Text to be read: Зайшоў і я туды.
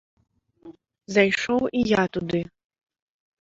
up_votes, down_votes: 2, 0